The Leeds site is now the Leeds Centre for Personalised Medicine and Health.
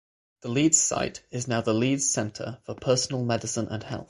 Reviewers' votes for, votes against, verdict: 0, 6, rejected